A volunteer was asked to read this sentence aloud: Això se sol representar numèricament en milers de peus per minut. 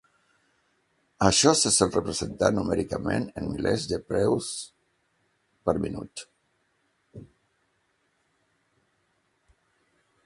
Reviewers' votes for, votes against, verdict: 0, 2, rejected